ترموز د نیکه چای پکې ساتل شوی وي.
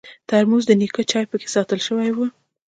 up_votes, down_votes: 2, 0